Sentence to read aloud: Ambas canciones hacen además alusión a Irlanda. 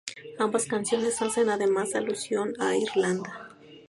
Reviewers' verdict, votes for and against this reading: accepted, 2, 0